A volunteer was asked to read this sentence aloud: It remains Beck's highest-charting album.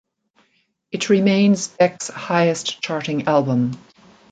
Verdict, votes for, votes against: accepted, 2, 0